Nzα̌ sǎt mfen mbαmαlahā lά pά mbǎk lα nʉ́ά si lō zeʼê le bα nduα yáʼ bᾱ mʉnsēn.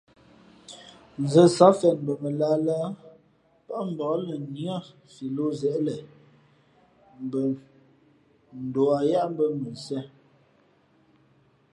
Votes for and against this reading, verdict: 0, 2, rejected